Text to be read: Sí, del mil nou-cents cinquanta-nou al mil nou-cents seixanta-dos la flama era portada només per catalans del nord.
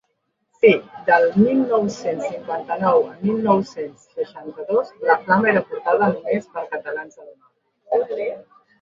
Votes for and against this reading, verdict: 0, 2, rejected